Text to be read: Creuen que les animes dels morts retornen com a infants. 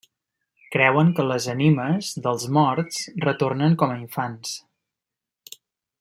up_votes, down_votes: 1, 2